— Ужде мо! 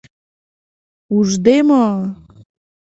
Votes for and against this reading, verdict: 3, 0, accepted